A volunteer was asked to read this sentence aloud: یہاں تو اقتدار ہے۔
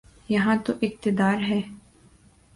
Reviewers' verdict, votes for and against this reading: accepted, 3, 0